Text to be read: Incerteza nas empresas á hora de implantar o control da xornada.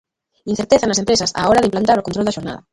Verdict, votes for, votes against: rejected, 1, 2